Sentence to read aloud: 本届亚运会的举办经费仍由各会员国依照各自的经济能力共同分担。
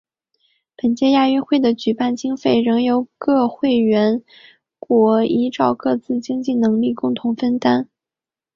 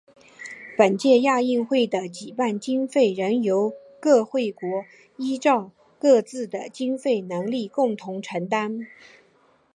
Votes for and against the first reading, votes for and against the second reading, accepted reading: 2, 0, 1, 2, first